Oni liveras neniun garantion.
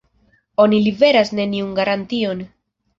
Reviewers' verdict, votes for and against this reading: accepted, 2, 0